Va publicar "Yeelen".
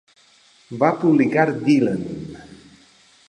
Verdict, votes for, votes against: rejected, 2, 4